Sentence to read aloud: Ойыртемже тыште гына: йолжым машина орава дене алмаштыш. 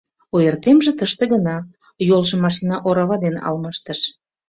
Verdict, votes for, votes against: accepted, 2, 1